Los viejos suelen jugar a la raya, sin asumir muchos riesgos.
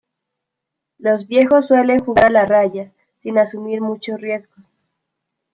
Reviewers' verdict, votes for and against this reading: rejected, 0, 2